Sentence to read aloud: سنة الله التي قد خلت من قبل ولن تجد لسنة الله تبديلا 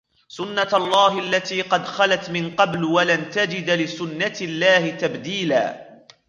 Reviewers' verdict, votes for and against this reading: rejected, 0, 2